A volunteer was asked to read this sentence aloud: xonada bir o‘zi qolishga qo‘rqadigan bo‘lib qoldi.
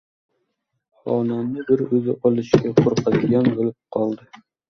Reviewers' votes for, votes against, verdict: 1, 2, rejected